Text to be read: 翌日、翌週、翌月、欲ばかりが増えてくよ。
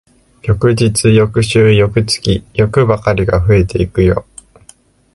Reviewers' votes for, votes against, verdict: 0, 2, rejected